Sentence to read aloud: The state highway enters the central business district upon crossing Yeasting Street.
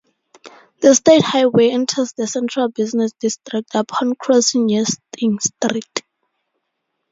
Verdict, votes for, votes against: accepted, 2, 0